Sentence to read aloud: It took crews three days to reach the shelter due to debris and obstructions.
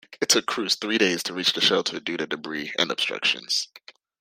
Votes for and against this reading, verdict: 2, 0, accepted